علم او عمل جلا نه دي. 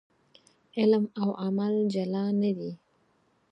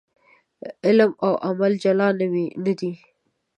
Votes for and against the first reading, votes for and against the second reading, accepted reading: 4, 2, 0, 2, first